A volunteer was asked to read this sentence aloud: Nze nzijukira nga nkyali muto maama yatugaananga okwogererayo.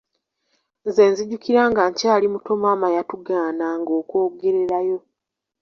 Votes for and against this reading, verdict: 1, 2, rejected